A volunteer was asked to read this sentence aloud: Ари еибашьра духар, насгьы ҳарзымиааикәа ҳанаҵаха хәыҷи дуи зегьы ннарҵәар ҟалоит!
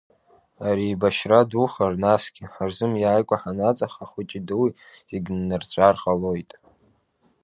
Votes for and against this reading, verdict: 2, 0, accepted